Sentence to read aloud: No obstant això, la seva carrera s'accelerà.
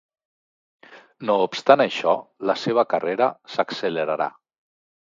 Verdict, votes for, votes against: rejected, 0, 2